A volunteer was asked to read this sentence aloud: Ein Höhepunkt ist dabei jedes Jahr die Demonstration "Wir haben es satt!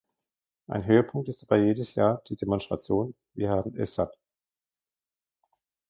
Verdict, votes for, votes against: rejected, 0, 2